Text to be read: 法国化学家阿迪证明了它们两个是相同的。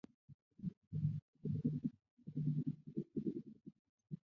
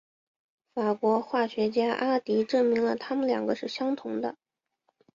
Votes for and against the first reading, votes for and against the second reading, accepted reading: 0, 3, 3, 0, second